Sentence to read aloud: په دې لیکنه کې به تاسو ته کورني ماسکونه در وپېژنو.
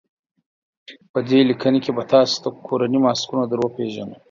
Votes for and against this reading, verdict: 4, 0, accepted